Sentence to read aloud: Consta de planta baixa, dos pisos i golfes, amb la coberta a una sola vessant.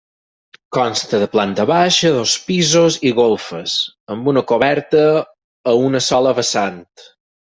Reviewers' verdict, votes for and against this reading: rejected, 0, 4